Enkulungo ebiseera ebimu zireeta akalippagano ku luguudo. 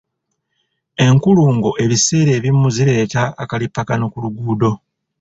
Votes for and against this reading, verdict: 2, 0, accepted